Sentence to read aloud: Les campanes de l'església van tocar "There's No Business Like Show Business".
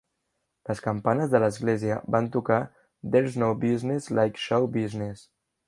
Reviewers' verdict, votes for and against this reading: accepted, 2, 0